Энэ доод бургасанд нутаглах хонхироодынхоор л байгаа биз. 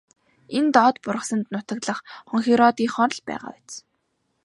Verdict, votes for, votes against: accepted, 2, 0